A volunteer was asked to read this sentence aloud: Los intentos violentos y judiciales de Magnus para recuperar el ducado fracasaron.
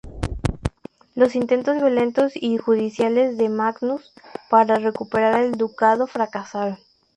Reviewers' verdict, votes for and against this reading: accepted, 2, 0